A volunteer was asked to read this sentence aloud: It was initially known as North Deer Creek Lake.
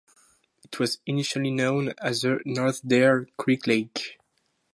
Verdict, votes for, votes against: rejected, 0, 2